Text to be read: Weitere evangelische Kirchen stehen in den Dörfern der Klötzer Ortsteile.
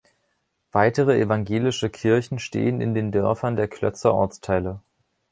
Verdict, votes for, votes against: accepted, 2, 0